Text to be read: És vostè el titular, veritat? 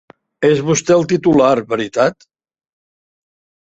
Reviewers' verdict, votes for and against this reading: accepted, 4, 0